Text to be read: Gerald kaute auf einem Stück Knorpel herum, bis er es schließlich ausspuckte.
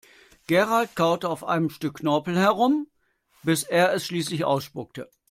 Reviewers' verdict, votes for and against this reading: accepted, 2, 0